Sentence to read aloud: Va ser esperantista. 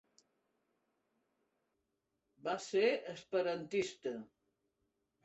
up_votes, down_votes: 3, 0